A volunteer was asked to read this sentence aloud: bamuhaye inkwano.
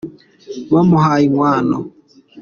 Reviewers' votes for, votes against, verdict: 2, 0, accepted